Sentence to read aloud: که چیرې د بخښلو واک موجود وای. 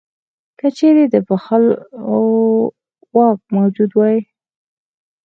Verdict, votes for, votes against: rejected, 2, 4